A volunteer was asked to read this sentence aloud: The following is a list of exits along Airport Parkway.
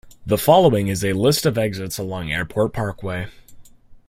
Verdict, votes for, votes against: accepted, 2, 0